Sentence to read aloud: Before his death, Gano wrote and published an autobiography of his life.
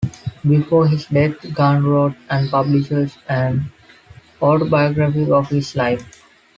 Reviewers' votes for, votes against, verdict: 0, 2, rejected